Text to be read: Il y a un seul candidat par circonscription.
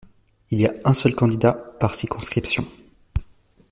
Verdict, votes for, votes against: accepted, 2, 0